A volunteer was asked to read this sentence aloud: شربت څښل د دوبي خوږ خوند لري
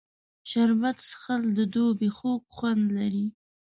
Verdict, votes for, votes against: accepted, 2, 0